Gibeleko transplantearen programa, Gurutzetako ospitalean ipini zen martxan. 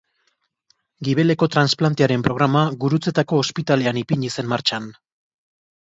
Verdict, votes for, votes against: accepted, 3, 0